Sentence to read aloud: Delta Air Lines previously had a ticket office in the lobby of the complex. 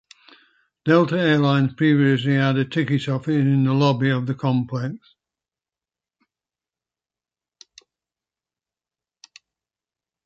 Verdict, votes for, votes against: rejected, 1, 2